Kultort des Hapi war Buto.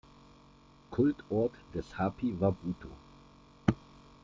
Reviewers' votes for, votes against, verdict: 2, 0, accepted